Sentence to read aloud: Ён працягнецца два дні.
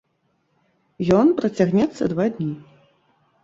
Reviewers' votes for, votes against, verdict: 0, 2, rejected